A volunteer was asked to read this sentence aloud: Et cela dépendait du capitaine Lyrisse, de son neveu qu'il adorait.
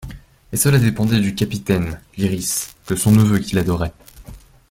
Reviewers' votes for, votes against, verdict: 2, 0, accepted